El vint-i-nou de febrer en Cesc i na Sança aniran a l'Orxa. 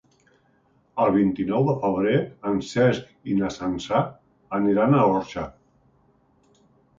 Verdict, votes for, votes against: accepted, 2, 0